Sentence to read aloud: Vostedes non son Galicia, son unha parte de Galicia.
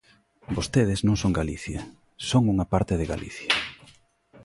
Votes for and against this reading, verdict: 2, 0, accepted